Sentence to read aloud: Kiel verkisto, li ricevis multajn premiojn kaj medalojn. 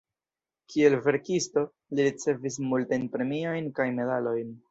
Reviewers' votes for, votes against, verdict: 0, 2, rejected